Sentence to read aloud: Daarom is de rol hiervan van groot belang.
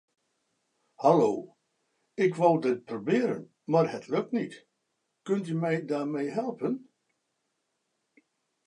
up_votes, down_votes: 0, 2